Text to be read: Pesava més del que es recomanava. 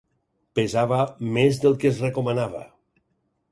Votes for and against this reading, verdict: 6, 0, accepted